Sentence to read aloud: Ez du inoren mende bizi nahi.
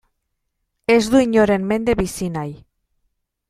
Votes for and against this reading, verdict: 2, 0, accepted